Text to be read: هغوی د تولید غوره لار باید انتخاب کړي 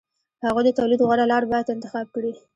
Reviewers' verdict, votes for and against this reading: accepted, 3, 1